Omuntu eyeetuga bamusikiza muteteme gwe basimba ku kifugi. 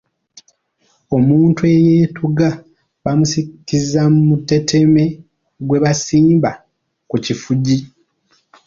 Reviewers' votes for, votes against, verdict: 1, 2, rejected